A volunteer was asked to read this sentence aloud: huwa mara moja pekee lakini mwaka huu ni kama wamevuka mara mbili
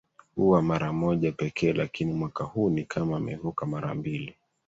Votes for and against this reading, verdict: 2, 1, accepted